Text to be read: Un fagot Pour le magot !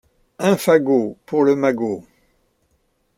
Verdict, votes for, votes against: accepted, 2, 0